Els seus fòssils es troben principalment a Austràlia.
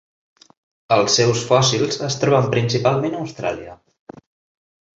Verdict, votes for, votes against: accepted, 3, 0